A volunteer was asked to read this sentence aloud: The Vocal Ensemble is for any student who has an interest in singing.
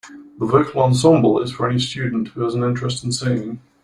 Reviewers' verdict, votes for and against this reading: rejected, 0, 2